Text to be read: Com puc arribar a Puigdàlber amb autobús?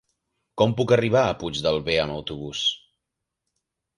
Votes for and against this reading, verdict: 1, 2, rejected